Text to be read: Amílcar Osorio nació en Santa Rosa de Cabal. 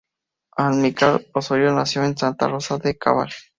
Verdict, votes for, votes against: rejected, 0, 2